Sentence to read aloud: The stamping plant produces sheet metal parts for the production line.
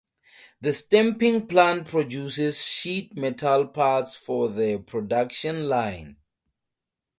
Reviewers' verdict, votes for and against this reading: accepted, 2, 0